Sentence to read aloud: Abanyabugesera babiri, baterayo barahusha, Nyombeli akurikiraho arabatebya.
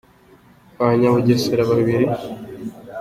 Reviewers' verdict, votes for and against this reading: rejected, 0, 2